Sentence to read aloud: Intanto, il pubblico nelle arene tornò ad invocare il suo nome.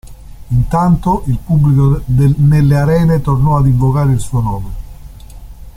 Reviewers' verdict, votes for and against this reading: rejected, 0, 2